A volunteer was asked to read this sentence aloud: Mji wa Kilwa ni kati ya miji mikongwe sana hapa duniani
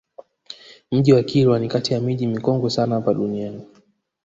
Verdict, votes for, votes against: rejected, 0, 2